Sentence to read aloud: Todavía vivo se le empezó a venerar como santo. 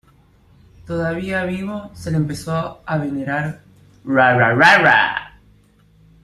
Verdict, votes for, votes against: rejected, 0, 2